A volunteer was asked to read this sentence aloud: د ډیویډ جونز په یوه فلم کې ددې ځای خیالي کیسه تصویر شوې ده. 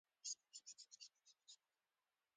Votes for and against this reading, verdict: 0, 2, rejected